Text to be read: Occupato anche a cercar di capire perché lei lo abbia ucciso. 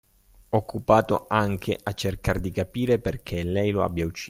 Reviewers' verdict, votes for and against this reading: rejected, 0, 2